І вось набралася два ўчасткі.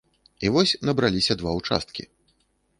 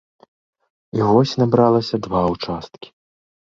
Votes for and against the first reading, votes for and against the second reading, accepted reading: 0, 2, 2, 0, second